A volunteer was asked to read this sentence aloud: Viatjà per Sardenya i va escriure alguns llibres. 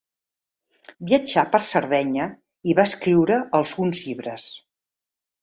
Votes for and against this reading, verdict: 0, 2, rejected